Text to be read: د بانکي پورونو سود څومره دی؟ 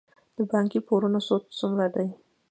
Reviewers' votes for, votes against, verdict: 2, 0, accepted